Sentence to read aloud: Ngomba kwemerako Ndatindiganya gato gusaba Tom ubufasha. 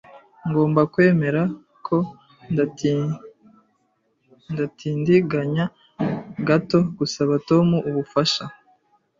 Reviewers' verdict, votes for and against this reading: rejected, 1, 2